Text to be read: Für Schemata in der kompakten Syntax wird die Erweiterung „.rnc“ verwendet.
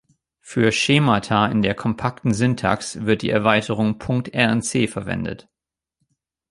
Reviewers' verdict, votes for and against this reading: rejected, 1, 2